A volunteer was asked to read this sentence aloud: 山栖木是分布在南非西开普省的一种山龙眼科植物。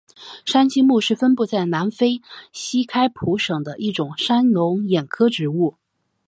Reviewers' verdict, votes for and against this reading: accepted, 3, 0